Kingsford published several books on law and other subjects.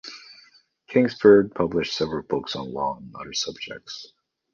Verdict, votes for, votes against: accepted, 2, 0